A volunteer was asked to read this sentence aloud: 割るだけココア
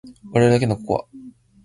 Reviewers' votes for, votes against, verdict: 2, 0, accepted